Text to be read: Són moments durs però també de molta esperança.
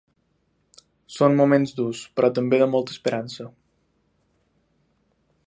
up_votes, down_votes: 2, 0